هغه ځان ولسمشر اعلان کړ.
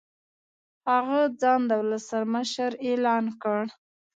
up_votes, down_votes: 1, 2